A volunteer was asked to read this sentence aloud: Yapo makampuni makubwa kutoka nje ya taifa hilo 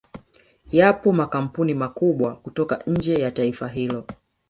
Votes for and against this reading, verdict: 1, 2, rejected